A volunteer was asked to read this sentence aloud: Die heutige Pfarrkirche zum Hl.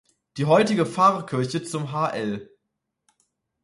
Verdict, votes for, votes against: rejected, 0, 2